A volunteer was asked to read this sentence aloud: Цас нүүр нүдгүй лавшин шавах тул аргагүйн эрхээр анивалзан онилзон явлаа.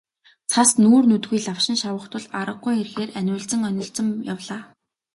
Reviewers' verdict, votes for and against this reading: accepted, 7, 0